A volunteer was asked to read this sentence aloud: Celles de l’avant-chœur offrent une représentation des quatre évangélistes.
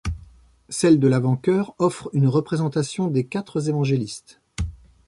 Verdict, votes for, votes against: rejected, 1, 2